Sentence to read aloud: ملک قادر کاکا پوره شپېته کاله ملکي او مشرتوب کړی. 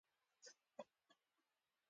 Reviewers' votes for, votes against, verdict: 1, 2, rejected